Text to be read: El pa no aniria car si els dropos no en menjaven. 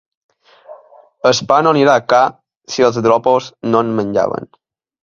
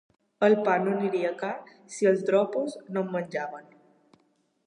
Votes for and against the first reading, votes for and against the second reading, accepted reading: 1, 2, 2, 0, second